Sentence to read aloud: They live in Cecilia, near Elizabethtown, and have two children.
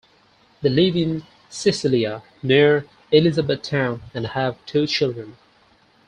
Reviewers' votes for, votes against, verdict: 2, 4, rejected